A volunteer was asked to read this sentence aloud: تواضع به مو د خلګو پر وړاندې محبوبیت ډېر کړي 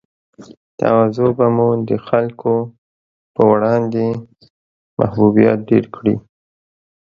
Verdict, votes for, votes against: accepted, 2, 0